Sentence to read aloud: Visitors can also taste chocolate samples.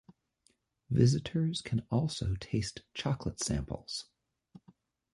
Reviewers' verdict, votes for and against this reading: accepted, 2, 1